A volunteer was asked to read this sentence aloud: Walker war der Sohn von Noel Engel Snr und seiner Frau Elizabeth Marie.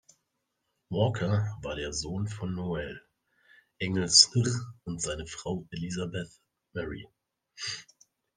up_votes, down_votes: 1, 2